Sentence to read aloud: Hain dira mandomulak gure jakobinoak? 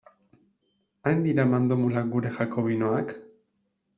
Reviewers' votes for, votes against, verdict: 2, 0, accepted